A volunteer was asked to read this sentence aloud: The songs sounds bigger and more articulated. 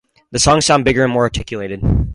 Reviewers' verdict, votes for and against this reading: rejected, 0, 2